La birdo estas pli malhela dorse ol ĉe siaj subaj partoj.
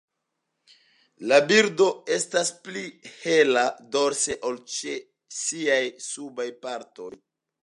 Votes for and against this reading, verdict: 0, 2, rejected